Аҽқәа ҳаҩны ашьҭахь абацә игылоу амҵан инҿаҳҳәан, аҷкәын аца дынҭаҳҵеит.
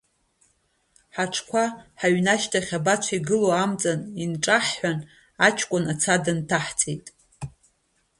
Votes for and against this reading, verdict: 1, 2, rejected